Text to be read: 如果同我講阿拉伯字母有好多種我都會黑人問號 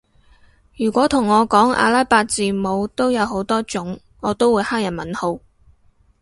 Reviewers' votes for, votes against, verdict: 0, 2, rejected